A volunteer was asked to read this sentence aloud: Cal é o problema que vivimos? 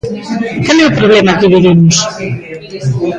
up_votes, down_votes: 2, 0